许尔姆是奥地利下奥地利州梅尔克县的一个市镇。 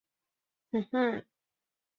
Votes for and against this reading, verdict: 0, 3, rejected